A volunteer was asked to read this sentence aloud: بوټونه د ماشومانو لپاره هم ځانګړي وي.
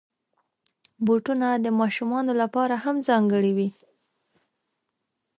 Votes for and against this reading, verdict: 2, 0, accepted